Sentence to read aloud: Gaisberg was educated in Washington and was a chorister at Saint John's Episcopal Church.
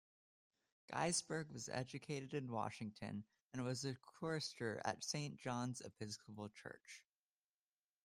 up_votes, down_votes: 2, 0